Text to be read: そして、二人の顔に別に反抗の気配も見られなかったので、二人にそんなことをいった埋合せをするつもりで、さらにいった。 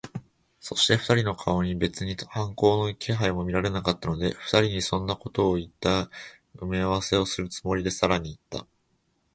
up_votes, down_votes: 2, 0